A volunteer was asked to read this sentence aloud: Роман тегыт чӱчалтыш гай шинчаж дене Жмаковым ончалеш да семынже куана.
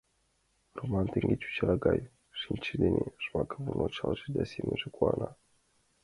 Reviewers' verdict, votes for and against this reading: accepted, 2, 1